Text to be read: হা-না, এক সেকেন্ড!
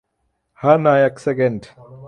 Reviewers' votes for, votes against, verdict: 3, 0, accepted